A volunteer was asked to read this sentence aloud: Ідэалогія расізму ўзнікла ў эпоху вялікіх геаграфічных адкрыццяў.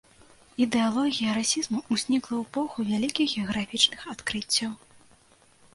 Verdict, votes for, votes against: accepted, 2, 0